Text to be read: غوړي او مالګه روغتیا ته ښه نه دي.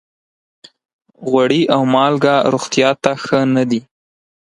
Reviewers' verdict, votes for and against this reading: accepted, 4, 0